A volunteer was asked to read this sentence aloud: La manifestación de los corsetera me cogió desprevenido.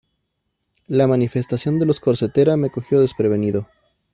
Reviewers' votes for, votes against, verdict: 2, 0, accepted